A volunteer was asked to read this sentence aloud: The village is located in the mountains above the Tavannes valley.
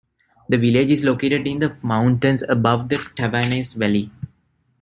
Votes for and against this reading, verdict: 2, 1, accepted